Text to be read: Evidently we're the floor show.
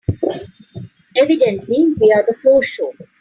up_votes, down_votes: 2, 1